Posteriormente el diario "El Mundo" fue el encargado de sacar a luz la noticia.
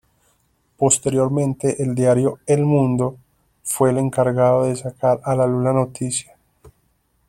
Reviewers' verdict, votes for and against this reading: rejected, 1, 2